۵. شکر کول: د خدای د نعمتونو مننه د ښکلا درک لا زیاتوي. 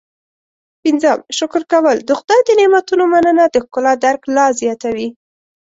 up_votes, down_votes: 0, 2